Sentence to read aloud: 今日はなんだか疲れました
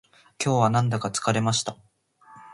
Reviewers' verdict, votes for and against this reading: rejected, 1, 2